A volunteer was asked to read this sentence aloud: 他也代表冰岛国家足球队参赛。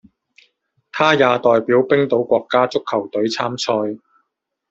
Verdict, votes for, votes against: rejected, 1, 2